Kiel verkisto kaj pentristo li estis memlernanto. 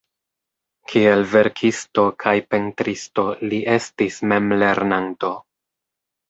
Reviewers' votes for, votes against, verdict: 4, 0, accepted